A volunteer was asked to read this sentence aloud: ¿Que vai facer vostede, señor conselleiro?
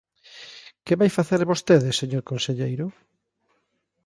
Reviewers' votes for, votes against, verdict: 3, 0, accepted